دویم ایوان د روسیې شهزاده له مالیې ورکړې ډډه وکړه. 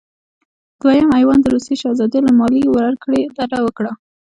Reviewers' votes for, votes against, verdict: 2, 0, accepted